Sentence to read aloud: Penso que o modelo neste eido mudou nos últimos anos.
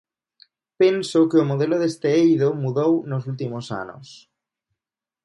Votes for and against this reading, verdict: 1, 2, rejected